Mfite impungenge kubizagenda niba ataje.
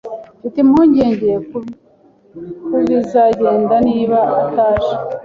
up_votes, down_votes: 1, 2